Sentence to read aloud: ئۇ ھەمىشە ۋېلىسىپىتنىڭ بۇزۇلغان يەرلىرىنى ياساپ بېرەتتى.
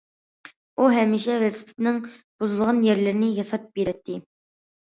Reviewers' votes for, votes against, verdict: 2, 0, accepted